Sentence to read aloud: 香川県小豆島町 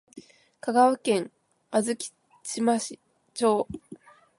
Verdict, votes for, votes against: rejected, 4, 11